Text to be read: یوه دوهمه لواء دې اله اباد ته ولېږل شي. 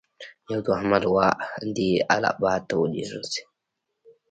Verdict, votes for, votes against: rejected, 0, 2